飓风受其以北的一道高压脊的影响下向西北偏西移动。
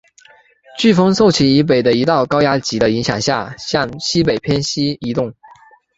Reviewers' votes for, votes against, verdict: 5, 0, accepted